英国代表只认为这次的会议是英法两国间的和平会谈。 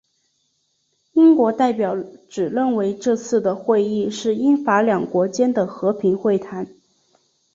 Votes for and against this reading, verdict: 2, 1, accepted